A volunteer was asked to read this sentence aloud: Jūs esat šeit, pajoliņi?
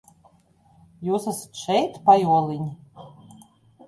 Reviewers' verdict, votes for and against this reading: accepted, 2, 0